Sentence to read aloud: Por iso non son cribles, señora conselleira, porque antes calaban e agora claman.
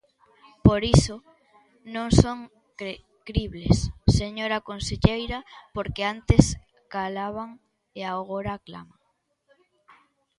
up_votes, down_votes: 0, 2